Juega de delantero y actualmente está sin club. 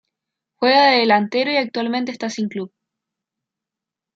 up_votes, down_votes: 2, 1